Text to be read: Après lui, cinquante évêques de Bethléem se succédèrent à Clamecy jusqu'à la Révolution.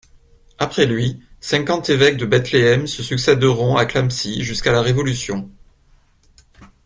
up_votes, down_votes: 0, 2